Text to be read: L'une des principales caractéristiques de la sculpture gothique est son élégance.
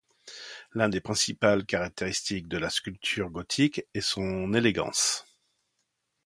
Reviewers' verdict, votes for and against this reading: rejected, 0, 2